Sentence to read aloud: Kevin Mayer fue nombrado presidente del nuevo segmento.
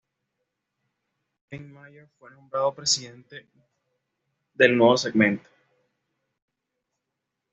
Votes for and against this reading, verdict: 2, 0, accepted